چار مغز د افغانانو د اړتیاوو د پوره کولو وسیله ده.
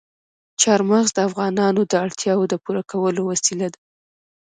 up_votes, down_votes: 2, 0